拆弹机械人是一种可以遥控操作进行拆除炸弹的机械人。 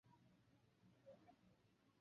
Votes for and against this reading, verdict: 1, 5, rejected